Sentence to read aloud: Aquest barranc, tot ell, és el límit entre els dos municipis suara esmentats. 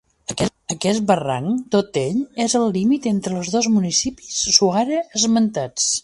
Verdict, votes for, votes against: rejected, 1, 2